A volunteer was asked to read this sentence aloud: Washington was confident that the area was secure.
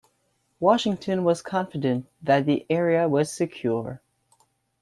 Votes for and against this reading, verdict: 2, 0, accepted